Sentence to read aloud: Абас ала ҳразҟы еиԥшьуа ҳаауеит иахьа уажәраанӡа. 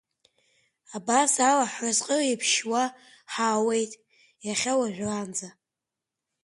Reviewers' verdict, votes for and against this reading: accepted, 2, 1